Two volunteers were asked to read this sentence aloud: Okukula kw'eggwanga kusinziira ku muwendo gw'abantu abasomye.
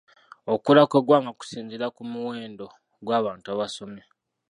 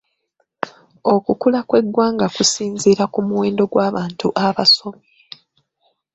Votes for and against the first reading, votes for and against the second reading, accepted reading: 1, 2, 3, 0, second